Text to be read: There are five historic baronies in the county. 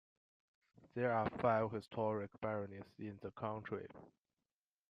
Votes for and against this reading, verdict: 1, 2, rejected